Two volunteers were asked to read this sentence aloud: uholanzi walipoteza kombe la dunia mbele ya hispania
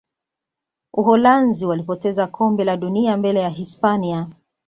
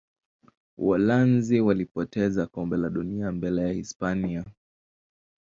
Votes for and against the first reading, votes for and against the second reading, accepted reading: 2, 0, 1, 2, first